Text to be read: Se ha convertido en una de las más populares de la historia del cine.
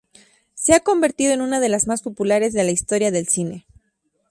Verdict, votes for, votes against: rejected, 0, 2